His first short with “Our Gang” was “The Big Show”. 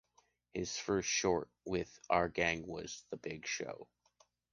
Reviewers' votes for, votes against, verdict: 2, 0, accepted